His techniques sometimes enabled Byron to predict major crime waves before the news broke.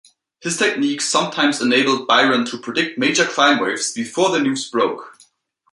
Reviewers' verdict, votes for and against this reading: accepted, 2, 0